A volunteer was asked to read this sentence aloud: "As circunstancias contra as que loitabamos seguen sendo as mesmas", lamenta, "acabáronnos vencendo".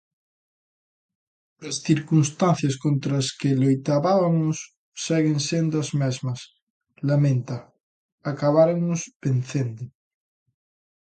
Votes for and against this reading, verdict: 0, 2, rejected